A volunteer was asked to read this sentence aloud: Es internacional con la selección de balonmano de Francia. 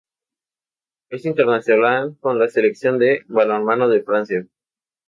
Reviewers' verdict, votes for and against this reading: rejected, 0, 2